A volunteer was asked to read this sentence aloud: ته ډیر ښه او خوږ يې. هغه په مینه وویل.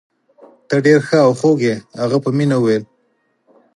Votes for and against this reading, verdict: 4, 0, accepted